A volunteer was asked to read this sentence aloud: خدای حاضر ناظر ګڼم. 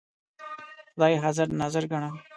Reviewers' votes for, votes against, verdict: 1, 2, rejected